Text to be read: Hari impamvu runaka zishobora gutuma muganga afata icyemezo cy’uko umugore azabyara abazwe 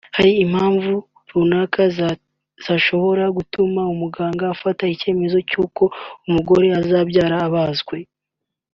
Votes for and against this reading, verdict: 0, 2, rejected